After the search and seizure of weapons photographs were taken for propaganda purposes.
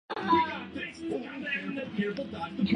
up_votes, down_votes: 0, 2